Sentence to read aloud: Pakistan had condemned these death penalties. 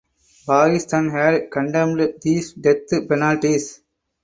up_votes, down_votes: 4, 2